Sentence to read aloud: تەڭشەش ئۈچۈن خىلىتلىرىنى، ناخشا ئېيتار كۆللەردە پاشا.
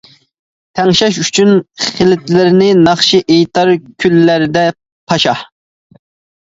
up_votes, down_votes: 1, 2